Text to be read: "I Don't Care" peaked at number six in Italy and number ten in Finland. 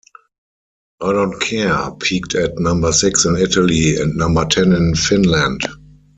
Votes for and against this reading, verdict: 0, 4, rejected